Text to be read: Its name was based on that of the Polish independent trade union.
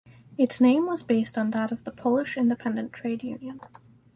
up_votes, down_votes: 4, 0